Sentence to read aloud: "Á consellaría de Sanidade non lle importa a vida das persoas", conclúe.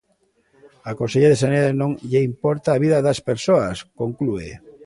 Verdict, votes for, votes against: rejected, 0, 2